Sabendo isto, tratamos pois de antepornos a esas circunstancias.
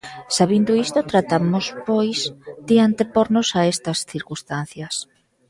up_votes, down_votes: 0, 2